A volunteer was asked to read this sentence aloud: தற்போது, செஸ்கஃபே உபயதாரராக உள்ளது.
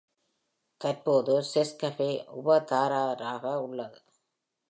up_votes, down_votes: 0, 2